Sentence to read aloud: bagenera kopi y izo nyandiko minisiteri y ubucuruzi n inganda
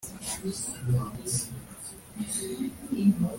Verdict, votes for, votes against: rejected, 0, 2